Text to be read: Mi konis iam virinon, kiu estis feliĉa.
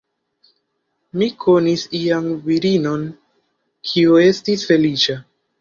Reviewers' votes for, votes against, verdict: 1, 2, rejected